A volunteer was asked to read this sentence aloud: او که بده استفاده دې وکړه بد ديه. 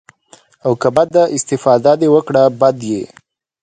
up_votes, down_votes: 2, 0